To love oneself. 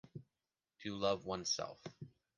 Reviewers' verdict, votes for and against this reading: accepted, 2, 0